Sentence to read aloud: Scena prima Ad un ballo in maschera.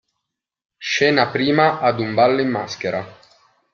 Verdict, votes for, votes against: accepted, 2, 0